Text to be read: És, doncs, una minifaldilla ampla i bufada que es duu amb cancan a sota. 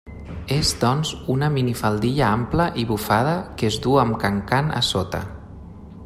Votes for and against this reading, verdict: 2, 1, accepted